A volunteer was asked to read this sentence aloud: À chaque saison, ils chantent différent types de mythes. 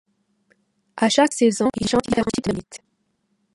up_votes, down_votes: 1, 2